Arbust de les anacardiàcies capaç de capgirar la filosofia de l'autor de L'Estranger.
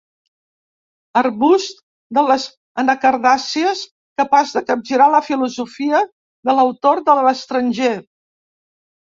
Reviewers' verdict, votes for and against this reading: rejected, 1, 2